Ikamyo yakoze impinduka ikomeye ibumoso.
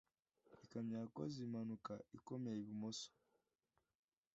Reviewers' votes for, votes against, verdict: 1, 2, rejected